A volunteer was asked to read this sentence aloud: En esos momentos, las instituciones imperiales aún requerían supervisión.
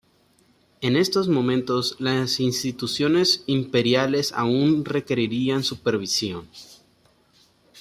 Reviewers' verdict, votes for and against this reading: rejected, 1, 2